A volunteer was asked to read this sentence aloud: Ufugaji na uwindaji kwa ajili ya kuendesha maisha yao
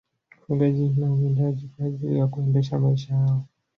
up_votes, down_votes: 1, 2